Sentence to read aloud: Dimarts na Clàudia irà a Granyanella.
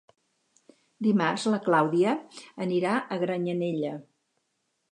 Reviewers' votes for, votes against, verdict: 0, 4, rejected